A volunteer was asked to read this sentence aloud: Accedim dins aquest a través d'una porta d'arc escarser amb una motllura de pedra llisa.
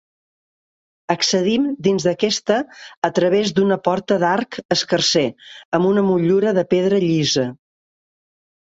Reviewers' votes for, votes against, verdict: 0, 2, rejected